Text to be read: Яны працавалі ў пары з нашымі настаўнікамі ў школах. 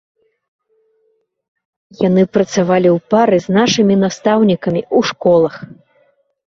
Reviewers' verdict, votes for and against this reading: rejected, 1, 2